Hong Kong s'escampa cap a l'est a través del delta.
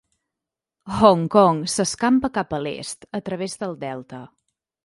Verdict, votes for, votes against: accepted, 3, 0